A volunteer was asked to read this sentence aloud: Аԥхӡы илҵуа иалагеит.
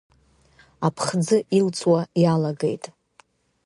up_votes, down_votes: 2, 0